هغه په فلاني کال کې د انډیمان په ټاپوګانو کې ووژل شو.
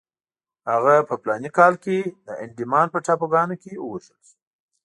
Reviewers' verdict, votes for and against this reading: accepted, 2, 0